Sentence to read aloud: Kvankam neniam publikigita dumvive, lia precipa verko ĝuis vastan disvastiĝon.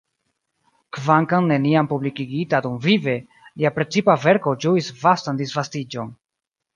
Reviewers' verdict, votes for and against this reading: rejected, 0, 2